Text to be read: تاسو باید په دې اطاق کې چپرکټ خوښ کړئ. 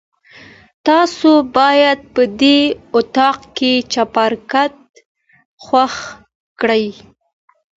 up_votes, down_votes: 2, 0